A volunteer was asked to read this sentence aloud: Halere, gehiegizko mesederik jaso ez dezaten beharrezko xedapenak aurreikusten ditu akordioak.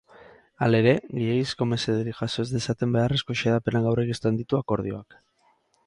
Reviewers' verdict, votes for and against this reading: rejected, 0, 2